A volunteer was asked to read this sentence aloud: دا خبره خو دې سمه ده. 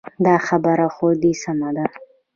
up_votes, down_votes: 2, 1